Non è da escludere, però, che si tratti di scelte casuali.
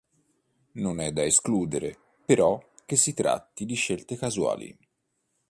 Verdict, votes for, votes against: accepted, 2, 0